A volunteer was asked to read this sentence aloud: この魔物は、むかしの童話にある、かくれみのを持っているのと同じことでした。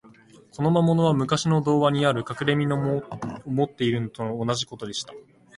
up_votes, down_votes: 1, 2